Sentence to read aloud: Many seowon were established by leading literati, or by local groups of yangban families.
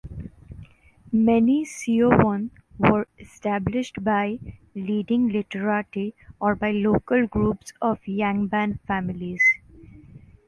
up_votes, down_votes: 2, 0